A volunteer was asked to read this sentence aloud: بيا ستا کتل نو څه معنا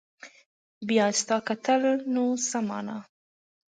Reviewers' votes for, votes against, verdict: 2, 0, accepted